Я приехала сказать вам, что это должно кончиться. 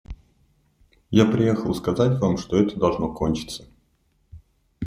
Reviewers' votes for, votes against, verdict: 1, 2, rejected